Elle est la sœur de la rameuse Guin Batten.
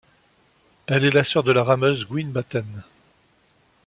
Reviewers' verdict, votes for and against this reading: accepted, 2, 0